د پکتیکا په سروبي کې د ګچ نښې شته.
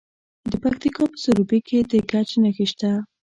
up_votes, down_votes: 2, 0